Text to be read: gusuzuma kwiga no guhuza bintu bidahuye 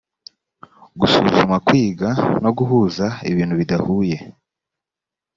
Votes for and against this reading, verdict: 2, 0, accepted